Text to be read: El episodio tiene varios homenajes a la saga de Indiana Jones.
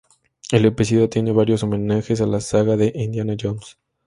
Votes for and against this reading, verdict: 2, 0, accepted